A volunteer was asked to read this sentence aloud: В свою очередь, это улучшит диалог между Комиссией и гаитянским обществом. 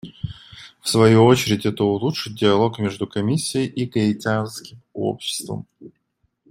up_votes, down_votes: 2, 0